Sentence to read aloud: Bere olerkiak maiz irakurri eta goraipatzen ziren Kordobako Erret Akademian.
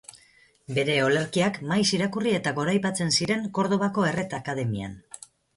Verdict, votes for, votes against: accepted, 6, 0